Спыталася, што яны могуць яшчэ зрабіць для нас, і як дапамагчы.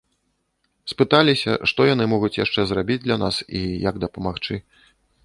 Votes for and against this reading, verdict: 1, 2, rejected